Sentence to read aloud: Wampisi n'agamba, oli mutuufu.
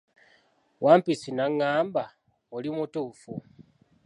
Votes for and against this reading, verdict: 2, 0, accepted